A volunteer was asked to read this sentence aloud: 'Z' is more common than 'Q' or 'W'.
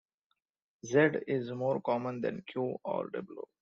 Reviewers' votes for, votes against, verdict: 2, 0, accepted